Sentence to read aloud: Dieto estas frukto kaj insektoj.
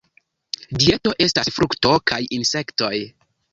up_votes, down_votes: 1, 2